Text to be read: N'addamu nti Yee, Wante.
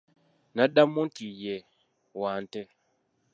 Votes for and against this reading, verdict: 1, 2, rejected